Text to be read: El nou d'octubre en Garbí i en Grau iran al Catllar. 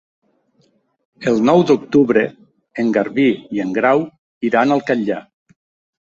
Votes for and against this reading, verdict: 5, 0, accepted